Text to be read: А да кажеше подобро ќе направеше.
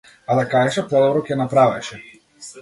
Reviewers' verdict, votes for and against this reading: accepted, 2, 1